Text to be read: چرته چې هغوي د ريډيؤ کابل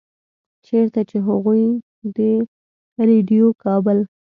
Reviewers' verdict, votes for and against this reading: rejected, 1, 2